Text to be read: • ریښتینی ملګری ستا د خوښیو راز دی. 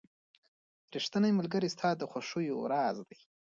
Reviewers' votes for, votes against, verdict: 2, 0, accepted